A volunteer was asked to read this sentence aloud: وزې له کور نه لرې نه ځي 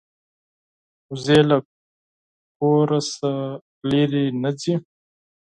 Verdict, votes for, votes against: rejected, 2, 6